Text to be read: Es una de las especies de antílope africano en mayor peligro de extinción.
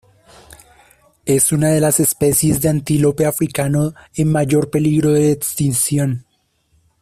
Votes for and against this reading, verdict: 2, 0, accepted